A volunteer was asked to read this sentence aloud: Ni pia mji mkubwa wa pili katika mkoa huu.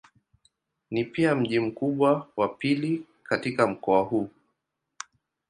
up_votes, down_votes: 2, 0